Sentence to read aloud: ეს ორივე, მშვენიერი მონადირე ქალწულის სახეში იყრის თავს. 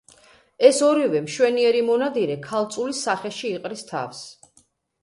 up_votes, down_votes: 2, 0